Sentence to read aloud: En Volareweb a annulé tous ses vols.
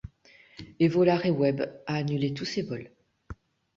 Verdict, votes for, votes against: rejected, 1, 2